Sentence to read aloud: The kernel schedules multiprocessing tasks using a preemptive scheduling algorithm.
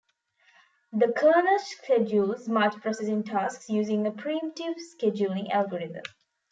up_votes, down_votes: 1, 2